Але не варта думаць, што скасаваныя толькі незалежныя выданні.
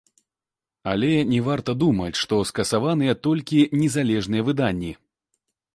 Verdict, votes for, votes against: accepted, 2, 0